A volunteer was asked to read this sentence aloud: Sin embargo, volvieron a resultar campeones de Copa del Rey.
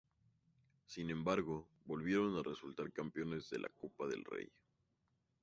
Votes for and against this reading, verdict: 2, 4, rejected